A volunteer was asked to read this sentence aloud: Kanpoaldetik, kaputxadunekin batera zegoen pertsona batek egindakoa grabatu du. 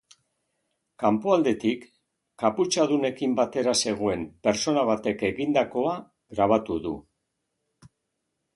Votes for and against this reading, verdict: 1, 2, rejected